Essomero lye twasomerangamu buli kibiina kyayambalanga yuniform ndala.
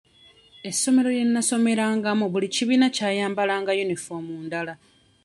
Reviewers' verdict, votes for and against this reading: rejected, 1, 2